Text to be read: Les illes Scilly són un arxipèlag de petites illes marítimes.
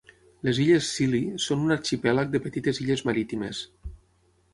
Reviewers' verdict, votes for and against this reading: accepted, 6, 0